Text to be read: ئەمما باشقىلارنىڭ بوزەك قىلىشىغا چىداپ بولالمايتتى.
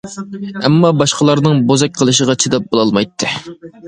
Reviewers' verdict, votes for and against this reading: accepted, 2, 0